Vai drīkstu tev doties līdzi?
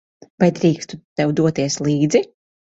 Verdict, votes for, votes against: accepted, 2, 0